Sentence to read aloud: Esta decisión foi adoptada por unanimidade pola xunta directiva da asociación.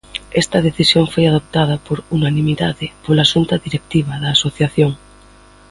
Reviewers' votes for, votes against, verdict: 2, 0, accepted